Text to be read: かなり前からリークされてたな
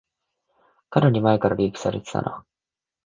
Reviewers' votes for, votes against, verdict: 4, 0, accepted